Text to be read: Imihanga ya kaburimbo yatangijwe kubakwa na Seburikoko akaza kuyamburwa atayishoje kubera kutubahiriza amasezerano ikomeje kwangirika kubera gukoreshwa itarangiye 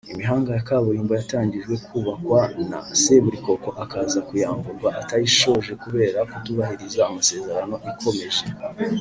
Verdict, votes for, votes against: rejected, 2, 3